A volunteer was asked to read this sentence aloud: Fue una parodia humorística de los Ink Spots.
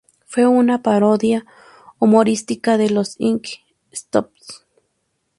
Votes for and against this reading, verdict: 0, 2, rejected